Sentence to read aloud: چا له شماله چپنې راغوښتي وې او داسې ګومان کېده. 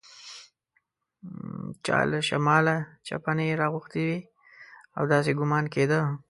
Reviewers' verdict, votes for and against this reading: rejected, 1, 2